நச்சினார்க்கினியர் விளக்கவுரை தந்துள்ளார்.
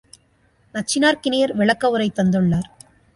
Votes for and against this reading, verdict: 2, 0, accepted